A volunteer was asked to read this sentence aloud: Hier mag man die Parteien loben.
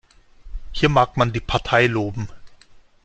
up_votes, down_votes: 0, 2